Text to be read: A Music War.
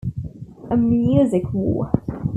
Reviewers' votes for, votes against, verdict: 3, 0, accepted